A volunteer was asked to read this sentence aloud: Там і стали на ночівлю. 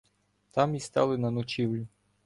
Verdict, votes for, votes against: accepted, 2, 1